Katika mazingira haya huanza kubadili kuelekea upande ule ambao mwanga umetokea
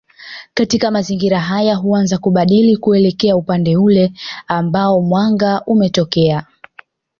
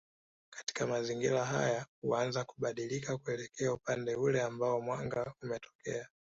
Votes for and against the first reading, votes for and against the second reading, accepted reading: 2, 0, 0, 2, first